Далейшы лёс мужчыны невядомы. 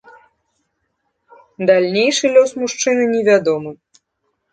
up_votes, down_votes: 0, 2